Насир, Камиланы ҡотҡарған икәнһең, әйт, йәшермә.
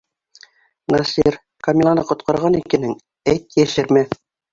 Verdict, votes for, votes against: accepted, 3, 1